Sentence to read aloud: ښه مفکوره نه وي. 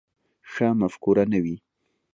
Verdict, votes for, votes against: accepted, 2, 0